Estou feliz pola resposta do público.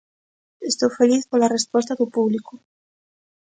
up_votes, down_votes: 2, 0